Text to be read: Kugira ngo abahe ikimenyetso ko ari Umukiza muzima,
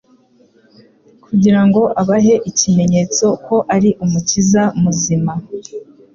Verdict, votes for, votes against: accepted, 3, 0